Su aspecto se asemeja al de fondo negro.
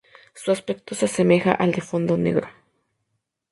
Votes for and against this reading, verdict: 2, 0, accepted